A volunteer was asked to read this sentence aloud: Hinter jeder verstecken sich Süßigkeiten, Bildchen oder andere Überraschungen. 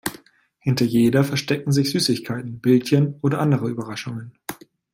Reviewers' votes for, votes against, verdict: 2, 0, accepted